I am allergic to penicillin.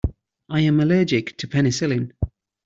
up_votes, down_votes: 2, 0